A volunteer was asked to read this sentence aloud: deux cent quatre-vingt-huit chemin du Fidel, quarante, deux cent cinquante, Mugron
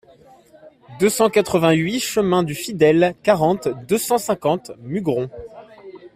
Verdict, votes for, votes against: rejected, 1, 2